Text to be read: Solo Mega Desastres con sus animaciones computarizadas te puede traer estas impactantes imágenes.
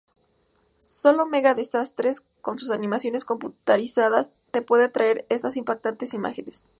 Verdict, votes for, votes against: accepted, 2, 0